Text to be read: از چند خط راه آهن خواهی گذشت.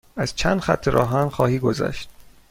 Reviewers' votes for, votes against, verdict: 2, 0, accepted